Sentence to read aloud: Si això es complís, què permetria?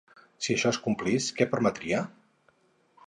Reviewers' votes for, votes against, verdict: 4, 0, accepted